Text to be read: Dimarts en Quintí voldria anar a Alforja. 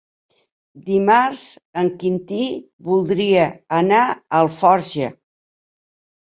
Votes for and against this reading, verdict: 1, 2, rejected